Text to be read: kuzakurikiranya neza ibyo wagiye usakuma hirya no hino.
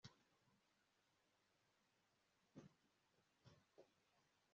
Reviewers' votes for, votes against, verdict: 0, 2, rejected